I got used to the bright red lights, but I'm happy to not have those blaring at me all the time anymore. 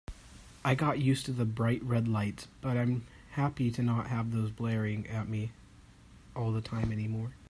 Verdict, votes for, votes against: accepted, 2, 0